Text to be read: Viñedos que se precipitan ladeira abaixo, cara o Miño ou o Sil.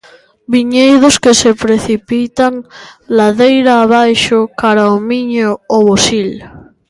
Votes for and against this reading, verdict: 2, 0, accepted